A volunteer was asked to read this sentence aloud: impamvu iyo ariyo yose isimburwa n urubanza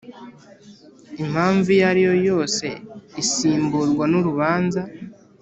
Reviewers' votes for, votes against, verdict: 3, 0, accepted